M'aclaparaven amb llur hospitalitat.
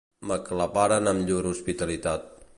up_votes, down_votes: 1, 2